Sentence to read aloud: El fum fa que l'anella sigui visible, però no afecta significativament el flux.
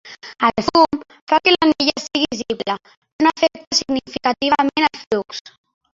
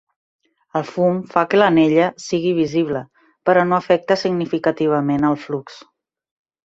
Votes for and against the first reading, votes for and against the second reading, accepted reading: 1, 2, 3, 0, second